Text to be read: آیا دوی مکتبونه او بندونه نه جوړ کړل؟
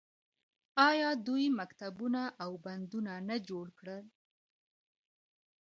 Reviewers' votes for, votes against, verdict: 0, 2, rejected